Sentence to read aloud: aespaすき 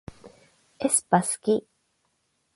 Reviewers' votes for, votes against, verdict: 8, 0, accepted